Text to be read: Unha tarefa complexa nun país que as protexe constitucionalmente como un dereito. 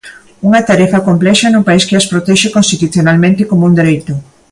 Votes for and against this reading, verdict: 2, 0, accepted